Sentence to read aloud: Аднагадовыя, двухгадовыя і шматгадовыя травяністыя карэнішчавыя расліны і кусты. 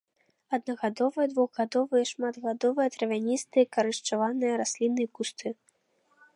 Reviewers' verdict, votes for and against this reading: rejected, 0, 2